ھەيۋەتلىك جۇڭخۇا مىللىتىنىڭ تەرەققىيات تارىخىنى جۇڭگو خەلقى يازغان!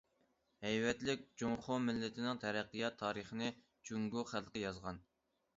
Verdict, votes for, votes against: rejected, 0, 2